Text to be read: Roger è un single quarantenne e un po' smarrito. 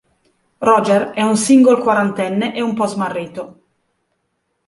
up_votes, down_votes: 2, 0